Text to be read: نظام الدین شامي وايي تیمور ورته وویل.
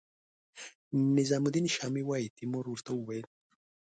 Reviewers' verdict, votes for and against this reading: accepted, 2, 0